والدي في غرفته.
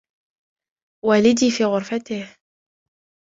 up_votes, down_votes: 1, 2